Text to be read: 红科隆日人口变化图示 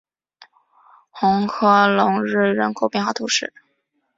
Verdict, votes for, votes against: accepted, 3, 0